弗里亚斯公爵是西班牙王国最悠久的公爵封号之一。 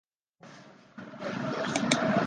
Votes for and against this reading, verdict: 0, 2, rejected